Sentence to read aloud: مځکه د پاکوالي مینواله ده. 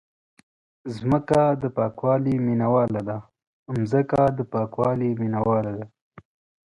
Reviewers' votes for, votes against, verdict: 1, 2, rejected